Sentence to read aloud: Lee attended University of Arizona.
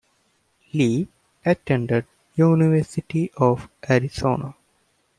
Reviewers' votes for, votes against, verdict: 2, 0, accepted